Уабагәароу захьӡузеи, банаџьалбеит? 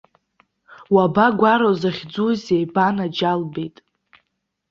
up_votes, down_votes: 0, 2